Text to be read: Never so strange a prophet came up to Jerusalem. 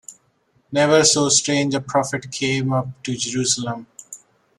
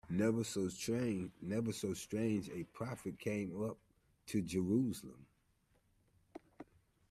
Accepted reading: first